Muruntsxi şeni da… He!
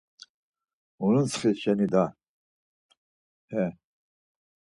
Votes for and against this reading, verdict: 4, 0, accepted